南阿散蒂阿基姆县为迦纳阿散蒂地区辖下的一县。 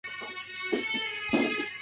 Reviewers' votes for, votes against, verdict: 1, 3, rejected